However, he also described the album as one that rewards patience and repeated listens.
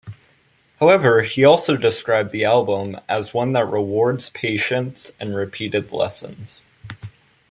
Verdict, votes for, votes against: accepted, 2, 0